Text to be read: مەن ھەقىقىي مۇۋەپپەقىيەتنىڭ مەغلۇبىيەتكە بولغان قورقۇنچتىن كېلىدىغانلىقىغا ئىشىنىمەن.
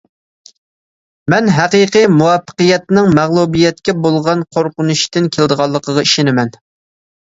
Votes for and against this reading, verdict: 2, 0, accepted